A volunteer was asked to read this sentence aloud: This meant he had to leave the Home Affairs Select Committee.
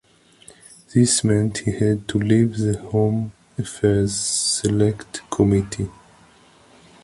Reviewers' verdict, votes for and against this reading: accepted, 2, 0